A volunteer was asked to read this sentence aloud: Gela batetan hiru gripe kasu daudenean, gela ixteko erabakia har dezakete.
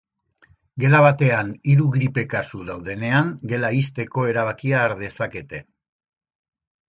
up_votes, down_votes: 3, 0